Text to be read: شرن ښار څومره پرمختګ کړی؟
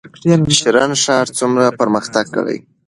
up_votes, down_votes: 2, 1